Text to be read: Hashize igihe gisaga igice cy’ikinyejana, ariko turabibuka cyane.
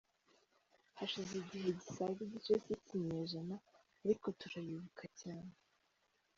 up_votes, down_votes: 2, 1